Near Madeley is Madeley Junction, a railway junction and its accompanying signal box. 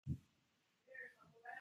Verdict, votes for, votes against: rejected, 0, 2